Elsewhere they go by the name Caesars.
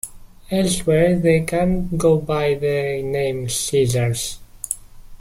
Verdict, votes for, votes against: rejected, 1, 2